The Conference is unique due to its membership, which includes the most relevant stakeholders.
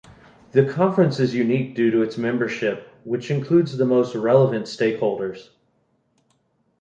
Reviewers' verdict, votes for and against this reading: accepted, 2, 0